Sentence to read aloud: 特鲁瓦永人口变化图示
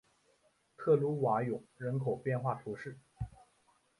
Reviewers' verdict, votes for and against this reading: accepted, 2, 0